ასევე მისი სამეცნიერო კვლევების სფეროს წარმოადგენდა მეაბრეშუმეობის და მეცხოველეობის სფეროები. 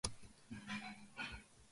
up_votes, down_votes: 1, 2